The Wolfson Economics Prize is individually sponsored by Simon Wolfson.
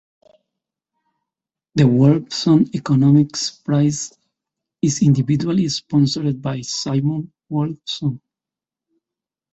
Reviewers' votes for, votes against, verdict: 2, 0, accepted